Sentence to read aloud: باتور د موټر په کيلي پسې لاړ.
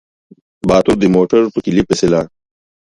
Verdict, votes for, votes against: accepted, 2, 0